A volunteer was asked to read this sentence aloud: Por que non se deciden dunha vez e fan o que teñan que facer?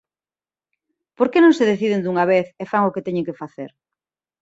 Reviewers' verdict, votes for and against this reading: accepted, 2, 0